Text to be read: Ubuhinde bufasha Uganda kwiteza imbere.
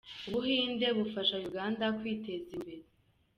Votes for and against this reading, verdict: 2, 0, accepted